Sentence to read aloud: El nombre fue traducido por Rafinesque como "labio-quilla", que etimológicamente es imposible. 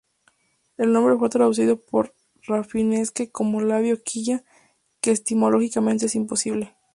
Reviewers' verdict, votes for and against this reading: rejected, 2, 2